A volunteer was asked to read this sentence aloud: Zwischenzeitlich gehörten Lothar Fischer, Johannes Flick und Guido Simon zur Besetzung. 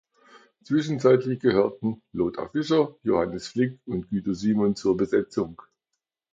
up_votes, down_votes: 2, 0